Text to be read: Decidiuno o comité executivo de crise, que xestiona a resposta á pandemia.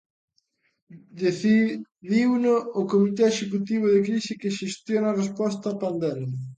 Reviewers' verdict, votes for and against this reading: rejected, 1, 2